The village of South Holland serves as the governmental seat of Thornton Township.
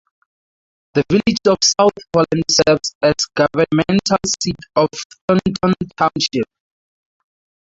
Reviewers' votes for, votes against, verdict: 2, 2, rejected